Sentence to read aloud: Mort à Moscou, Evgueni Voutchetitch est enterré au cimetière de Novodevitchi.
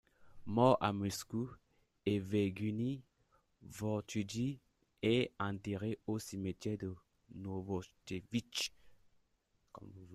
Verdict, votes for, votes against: rejected, 1, 2